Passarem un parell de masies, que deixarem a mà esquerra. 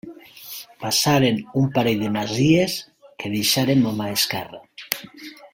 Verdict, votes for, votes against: rejected, 1, 2